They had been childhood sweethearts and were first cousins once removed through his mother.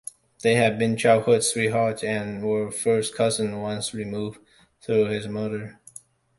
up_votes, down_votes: 2, 0